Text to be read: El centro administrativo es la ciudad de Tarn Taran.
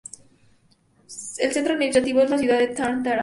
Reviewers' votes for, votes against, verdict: 2, 4, rejected